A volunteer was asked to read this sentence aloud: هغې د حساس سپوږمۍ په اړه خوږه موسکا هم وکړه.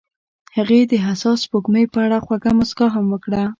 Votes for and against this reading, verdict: 2, 0, accepted